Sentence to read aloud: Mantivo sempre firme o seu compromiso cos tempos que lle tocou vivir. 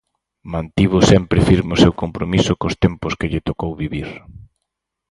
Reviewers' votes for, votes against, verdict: 4, 0, accepted